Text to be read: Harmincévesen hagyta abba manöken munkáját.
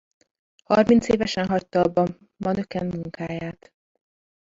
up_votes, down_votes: 0, 2